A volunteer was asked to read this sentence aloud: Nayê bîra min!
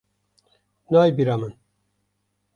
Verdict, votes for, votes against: accepted, 2, 0